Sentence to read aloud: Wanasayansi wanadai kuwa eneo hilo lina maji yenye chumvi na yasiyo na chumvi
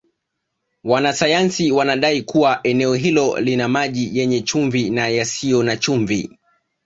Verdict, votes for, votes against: accepted, 3, 0